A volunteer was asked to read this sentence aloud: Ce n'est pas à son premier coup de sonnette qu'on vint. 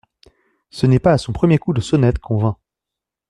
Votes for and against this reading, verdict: 2, 0, accepted